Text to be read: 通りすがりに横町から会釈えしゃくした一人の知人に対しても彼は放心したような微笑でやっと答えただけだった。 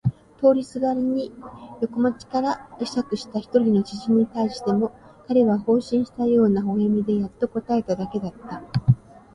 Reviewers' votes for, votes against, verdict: 0, 2, rejected